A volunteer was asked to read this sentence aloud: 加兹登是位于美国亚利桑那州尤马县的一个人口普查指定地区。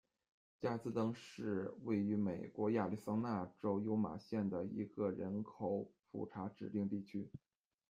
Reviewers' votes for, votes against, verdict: 2, 1, accepted